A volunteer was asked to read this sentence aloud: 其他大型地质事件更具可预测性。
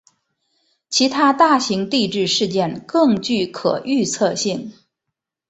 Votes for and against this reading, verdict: 2, 0, accepted